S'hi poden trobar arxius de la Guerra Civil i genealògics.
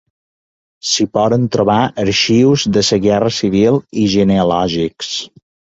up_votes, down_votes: 2, 0